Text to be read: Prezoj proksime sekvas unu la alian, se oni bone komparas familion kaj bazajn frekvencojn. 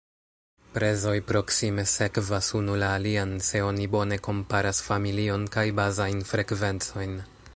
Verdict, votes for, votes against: rejected, 1, 2